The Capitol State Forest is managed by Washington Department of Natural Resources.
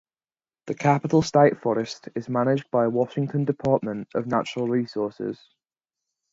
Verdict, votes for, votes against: accepted, 2, 0